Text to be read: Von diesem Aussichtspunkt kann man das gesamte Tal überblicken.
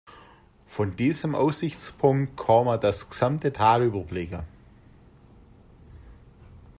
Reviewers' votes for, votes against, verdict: 1, 2, rejected